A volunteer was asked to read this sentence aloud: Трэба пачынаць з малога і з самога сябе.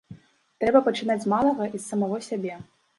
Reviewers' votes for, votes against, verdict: 1, 2, rejected